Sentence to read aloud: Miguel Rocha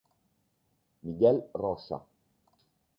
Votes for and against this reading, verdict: 1, 2, rejected